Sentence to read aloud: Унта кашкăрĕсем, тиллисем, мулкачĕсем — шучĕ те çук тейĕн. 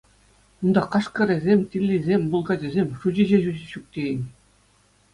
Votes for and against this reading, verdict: 2, 0, accepted